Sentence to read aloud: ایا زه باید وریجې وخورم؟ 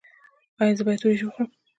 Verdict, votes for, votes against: rejected, 0, 2